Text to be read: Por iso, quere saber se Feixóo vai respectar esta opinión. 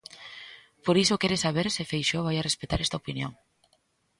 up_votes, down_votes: 1, 2